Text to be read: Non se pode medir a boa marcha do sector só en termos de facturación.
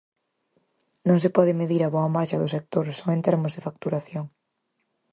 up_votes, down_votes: 4, 0